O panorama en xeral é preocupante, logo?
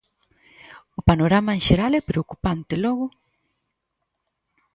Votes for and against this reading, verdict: 4, 0, accepted